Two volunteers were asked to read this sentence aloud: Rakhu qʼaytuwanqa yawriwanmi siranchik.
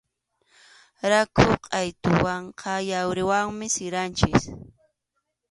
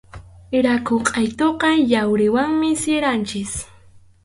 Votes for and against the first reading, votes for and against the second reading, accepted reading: 2, 0, 0, 2, first